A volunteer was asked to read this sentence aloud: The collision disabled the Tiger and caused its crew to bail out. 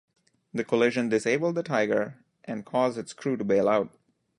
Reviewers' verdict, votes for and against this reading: accepted, 2, 0